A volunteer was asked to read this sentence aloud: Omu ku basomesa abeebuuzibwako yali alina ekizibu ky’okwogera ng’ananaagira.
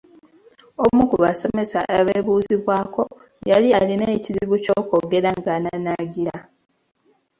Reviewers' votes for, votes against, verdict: 2, 1, accepted